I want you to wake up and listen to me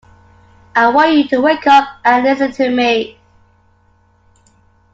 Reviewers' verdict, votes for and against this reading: accepted, 2, 0